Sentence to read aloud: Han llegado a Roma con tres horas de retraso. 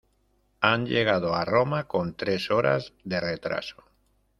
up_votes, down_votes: 2, 1